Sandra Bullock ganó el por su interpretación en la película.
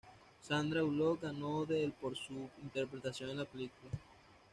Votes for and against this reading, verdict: 1, 2, rejected